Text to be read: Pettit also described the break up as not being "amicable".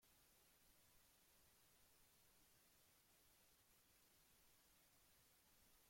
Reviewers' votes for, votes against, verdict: 0, 2, rejected